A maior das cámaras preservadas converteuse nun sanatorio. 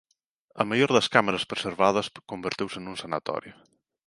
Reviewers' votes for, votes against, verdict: 2, 0, accepted